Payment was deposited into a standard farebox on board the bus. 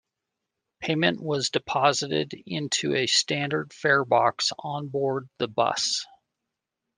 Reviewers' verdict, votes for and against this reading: accepted, 2, 0